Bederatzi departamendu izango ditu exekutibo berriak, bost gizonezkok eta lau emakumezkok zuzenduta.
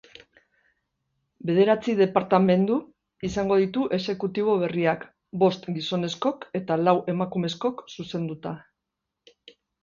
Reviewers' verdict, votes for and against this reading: rejected, 1, 2